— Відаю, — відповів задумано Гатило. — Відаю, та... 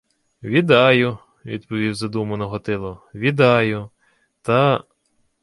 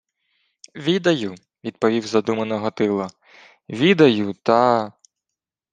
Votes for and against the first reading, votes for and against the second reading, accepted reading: 0, 2, 2, 0, second